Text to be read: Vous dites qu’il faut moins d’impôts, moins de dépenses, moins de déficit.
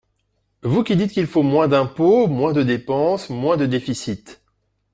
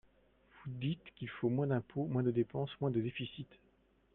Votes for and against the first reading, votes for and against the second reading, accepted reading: 0, 2, 4, 3, second